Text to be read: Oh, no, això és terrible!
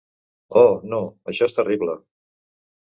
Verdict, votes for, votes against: accepted, 2, 0